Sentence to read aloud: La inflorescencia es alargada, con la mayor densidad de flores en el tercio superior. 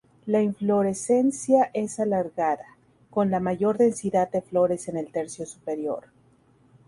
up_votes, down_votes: 2, 2